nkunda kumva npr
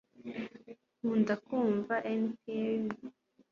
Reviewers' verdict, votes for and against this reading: accepted, 3, 0